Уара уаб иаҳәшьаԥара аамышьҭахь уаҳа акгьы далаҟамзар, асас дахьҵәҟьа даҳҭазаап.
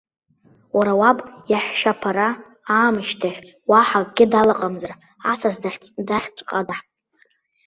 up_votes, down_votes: 0, 2